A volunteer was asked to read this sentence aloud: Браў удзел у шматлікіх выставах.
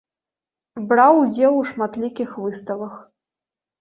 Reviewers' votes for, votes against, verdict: 0, 2, rejected